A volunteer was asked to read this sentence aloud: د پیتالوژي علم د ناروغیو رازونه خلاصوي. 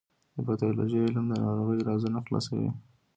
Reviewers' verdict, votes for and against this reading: accepted, 2, 0